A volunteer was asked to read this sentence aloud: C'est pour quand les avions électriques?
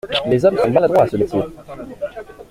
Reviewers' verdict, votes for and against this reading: rejected, 0, 2